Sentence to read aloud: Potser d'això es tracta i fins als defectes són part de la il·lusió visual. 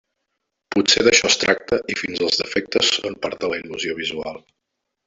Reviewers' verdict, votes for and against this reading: rejected, 0, 2